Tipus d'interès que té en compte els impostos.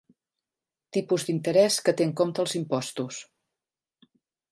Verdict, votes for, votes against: accepted, 2, 0